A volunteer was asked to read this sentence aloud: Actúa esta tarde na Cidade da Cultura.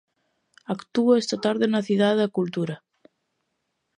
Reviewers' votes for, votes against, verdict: 2, 0, accepted